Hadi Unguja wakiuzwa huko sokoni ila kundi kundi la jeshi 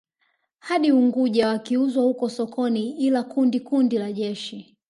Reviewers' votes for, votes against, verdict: 1, 2, rejected